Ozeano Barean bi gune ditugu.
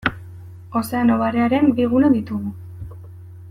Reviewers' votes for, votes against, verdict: 0, 2, rejected